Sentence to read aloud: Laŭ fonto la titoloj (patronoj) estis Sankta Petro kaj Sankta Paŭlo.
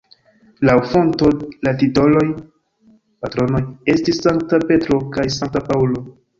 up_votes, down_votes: 2, 1